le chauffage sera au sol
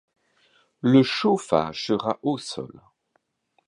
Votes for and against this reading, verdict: 2, 0, accepted